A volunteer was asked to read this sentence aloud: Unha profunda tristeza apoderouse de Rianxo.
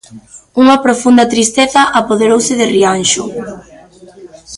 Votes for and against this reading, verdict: 0, 2, rejected